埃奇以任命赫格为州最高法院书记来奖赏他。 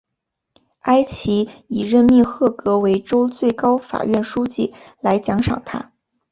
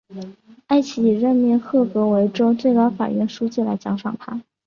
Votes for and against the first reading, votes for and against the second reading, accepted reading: 2, 0, 1, 2, first